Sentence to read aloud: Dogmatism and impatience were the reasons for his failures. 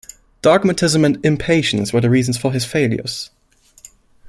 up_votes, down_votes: 2, 0